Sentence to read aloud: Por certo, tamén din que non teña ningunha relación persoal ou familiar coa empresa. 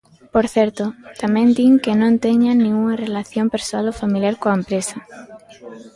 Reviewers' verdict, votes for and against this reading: accepted, 3, 0